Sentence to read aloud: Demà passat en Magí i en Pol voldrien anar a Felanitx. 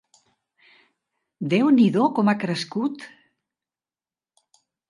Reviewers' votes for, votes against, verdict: 0, 2, rejected